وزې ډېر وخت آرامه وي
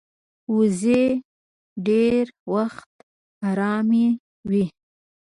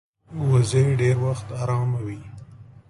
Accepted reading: second